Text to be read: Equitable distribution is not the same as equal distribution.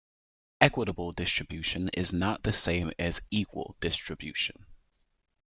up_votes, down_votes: 2, 0